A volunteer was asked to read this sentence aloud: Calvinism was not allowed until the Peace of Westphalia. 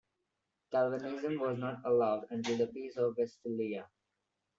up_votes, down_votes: 1, 2